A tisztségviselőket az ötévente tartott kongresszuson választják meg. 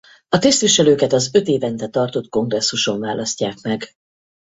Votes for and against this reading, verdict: 0, 4, rejected